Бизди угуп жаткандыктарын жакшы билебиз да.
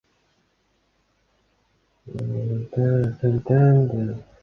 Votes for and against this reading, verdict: 0, 2, rejected